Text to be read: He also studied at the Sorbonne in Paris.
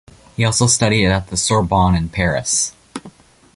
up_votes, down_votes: 2, 0